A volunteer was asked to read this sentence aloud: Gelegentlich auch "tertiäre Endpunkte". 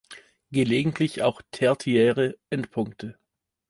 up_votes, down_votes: 1, 2